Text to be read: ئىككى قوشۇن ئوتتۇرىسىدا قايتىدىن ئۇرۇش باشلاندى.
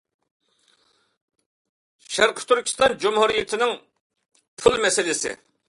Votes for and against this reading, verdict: 0, 2, rejected